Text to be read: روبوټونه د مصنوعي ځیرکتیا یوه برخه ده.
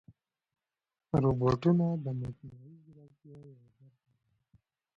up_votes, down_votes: 1, 2